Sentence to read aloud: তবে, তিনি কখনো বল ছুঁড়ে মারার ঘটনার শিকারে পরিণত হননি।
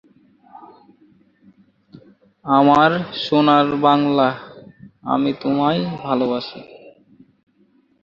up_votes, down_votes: 0, 2